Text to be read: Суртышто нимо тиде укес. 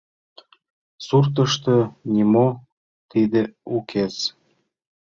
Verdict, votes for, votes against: accepted, 2, 0